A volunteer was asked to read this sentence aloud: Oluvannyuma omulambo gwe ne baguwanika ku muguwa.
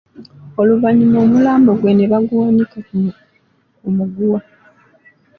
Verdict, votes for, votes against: rejected, 1, 2